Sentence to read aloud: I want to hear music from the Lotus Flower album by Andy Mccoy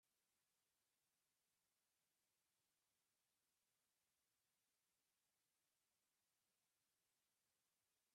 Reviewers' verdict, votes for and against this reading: rejected, 0, 2